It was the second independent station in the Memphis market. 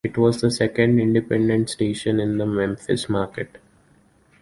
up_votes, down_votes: 2, 1